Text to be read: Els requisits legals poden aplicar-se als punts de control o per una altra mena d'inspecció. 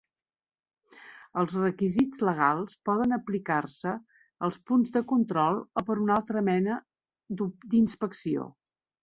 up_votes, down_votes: 0, 2